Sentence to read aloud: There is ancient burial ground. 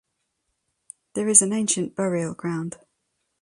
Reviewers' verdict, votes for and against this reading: rejected, 1, 2